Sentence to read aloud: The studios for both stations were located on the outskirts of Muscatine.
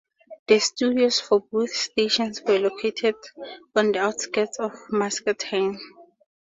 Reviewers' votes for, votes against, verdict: 2, 0, accepted